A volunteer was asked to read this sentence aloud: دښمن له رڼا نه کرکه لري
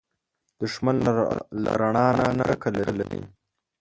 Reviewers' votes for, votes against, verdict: 0, 2, rejected